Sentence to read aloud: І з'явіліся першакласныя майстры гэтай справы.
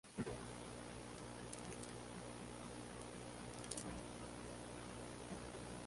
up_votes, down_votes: 0, 2